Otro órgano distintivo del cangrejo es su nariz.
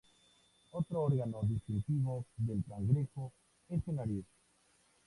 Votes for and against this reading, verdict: 2, 0, accepted